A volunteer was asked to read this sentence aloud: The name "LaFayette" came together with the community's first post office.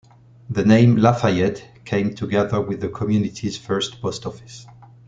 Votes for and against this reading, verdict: 2, 0, accepted